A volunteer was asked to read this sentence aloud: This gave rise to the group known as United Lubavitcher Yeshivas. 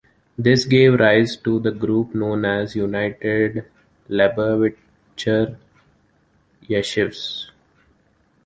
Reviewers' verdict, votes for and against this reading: rejected, 1, 2